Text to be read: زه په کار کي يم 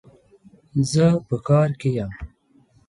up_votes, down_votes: 2, 0